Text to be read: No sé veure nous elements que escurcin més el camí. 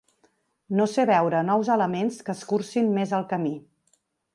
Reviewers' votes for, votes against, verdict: 2, 0, accepted